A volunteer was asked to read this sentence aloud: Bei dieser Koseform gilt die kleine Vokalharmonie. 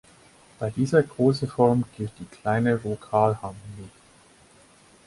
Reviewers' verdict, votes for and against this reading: rejected, 2, 4